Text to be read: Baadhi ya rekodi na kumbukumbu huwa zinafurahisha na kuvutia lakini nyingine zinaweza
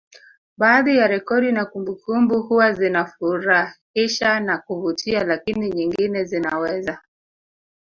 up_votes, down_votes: 0, 2